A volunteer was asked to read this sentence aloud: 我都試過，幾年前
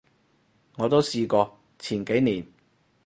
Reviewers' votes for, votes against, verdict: 2, 4, rejected